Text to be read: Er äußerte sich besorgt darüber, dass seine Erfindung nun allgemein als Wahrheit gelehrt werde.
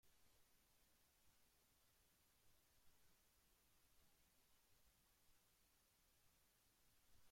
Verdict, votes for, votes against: rejected, 0, 2